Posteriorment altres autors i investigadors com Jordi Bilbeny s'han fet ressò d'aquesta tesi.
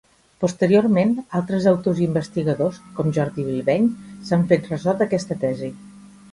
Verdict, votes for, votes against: accepted, 2, 0